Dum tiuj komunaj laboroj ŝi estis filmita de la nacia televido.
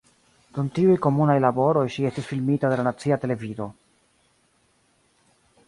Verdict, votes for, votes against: rejected, 0, 2